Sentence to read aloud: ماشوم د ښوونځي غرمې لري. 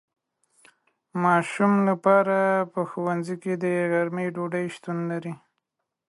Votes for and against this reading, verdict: 0, 2, rejected